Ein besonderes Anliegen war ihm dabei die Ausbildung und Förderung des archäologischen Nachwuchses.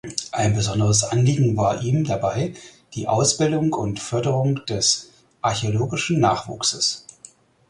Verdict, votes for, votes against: accepted, 4, 0